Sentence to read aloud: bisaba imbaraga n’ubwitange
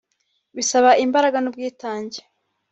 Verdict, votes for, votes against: accepted, 3, 0